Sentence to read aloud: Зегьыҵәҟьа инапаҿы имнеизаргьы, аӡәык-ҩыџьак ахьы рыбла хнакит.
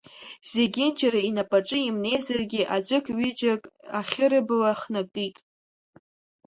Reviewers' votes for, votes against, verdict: 1, 2, rejected